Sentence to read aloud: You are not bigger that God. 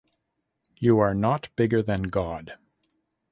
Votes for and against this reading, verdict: 2, 3, rejected